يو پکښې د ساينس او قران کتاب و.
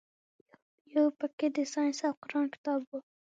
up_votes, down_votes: 6, 0